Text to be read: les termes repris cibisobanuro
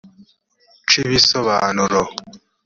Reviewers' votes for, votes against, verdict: 1, 2, rejected